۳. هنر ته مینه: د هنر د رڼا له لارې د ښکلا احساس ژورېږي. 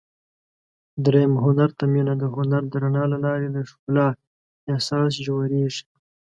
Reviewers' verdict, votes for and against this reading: rejected, 0, 2